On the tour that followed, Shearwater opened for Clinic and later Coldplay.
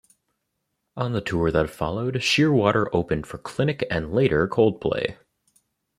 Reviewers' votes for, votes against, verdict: 0, 2, rejected